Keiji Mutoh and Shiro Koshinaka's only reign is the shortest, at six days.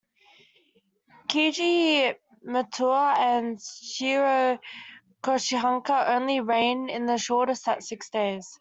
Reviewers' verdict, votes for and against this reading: rejected, 1, 2